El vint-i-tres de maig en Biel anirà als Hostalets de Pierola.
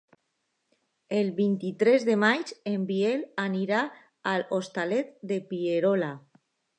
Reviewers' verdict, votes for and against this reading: accepted, 2, 1